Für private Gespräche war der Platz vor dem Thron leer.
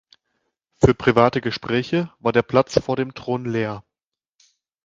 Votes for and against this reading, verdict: 2, 0, accepted